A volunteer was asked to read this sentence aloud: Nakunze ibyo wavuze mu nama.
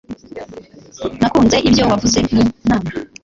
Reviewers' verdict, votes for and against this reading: rejected, 1, 2